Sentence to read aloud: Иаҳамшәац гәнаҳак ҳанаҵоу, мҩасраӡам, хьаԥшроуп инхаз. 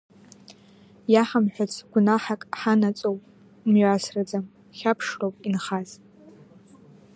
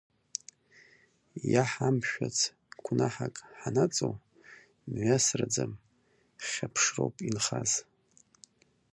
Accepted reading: first